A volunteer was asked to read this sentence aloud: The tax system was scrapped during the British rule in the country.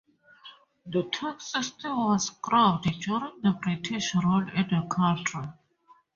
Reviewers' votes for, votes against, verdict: 0, 4, rejected